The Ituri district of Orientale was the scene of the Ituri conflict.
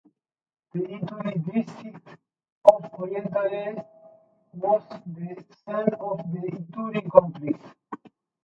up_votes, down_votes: 0, 2